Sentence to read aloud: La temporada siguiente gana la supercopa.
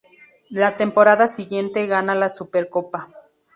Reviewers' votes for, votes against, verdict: 2, 0, accepted